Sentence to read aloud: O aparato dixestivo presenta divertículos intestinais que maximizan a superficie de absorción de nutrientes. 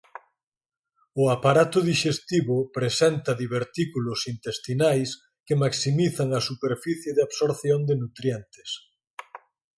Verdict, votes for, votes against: accepted, 4, 0